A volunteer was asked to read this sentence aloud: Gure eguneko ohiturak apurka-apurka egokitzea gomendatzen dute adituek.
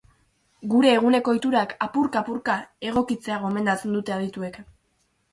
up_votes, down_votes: 8, 0